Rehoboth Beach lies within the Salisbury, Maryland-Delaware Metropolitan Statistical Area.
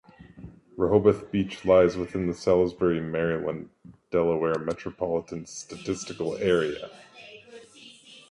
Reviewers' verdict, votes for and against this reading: rejected, 1, 2